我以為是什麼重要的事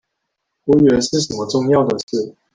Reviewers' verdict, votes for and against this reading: rejected, 1, 2